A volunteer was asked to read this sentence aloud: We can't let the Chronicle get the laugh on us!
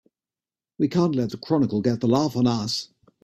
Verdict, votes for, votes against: accepted, 3, 0